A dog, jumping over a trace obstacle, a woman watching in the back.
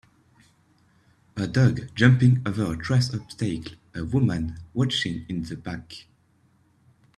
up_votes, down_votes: 0, 2